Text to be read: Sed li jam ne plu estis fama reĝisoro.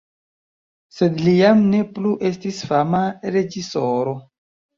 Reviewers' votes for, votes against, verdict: 0, 2, rejected